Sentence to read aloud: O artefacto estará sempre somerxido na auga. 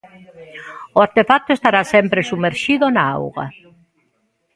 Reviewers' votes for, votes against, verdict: 2, 0, accepted